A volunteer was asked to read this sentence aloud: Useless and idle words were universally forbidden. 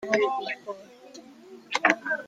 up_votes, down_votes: 0, 2